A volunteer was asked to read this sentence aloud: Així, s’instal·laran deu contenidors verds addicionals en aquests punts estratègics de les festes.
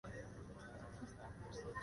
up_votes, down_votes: 0, 2